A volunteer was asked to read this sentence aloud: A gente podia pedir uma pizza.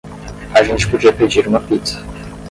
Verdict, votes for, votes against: accepted, 10, 0